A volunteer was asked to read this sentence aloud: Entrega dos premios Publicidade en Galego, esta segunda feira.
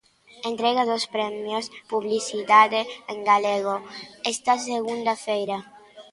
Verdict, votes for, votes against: accepted, 2, 0